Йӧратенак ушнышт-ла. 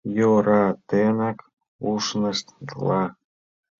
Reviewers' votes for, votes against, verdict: 2, 1, accepted